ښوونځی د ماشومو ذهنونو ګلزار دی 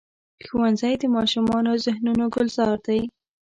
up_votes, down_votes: 1, 2